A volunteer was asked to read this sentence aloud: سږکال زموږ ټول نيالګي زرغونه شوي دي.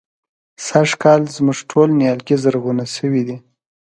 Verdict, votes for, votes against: accepted, 2, 0